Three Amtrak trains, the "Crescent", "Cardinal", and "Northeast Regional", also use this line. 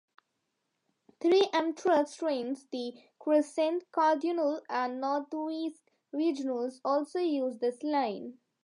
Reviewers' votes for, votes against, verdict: 0, 2, rejected